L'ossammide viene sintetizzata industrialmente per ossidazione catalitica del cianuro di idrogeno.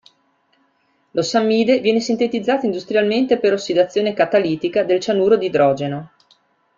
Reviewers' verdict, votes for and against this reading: accepted, 3, 1